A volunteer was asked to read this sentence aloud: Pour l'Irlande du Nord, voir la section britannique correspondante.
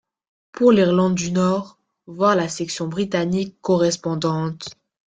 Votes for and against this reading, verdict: 2, 0, accepted